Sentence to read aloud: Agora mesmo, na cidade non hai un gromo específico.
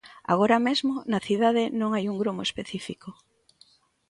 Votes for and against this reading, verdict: 2, 0, accepted